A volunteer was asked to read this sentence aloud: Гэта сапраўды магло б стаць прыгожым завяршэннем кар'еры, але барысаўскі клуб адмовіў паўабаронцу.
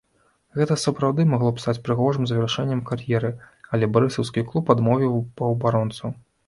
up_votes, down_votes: 2, 0